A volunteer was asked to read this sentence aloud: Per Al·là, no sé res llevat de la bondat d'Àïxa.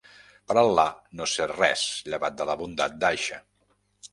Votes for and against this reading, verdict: 2, 0, accepted